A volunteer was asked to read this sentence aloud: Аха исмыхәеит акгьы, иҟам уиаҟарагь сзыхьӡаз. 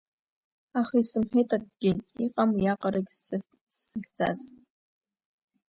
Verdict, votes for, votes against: rejected, 0, 2